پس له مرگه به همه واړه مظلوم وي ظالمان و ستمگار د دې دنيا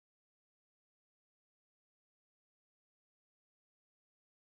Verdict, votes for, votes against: rejected, 0, 2